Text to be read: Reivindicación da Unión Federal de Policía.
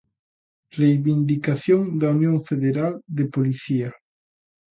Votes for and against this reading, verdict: 2, 0, accepted